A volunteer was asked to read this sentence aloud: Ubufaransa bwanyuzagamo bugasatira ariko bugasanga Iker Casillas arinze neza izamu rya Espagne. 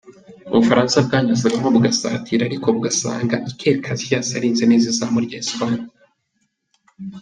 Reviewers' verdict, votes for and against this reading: accepted, 2, 0